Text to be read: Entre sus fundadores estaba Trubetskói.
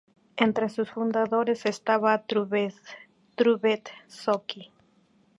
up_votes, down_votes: 0, 2